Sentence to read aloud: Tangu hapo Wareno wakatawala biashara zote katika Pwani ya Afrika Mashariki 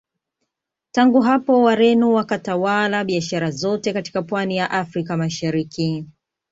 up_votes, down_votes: 2, 0